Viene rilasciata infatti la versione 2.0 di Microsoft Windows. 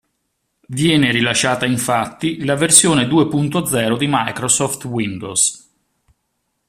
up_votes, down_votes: 0, 2